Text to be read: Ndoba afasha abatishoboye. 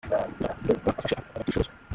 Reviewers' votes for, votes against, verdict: 0, 2, rejected